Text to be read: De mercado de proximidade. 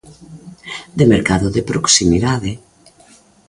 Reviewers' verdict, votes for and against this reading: accepted, 2, 0